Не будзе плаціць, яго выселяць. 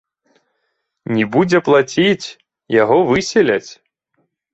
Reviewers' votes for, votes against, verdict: 2, 0, accepted